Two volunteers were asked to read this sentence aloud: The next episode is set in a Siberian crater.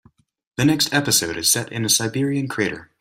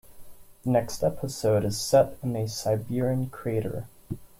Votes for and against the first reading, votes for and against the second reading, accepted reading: 2, 0, 0, 2, first